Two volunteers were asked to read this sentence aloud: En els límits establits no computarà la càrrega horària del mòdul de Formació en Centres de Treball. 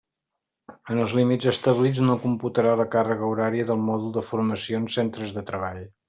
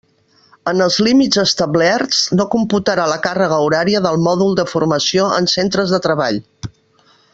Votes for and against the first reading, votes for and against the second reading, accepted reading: 2, 0, 0, 2, first